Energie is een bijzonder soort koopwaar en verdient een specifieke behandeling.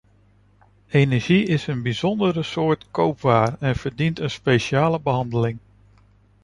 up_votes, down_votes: 1, 2